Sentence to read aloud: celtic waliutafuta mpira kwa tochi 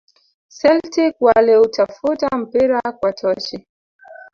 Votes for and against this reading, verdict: 2, 1, accepted